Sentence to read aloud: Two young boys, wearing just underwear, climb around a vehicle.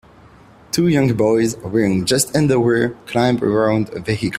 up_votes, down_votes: 1, 2